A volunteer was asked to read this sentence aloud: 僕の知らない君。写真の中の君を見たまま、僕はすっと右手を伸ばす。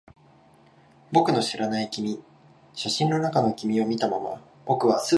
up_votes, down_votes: 0, 2